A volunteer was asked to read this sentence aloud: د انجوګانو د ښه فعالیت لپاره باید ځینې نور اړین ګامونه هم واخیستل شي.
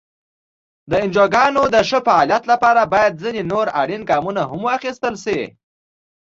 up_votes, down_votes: 2, 0